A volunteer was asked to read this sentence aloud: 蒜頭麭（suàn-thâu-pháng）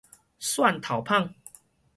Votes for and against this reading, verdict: 4, 0, accepted